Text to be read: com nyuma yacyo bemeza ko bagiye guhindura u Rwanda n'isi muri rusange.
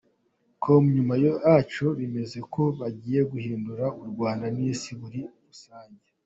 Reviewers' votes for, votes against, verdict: 2, 0, accepted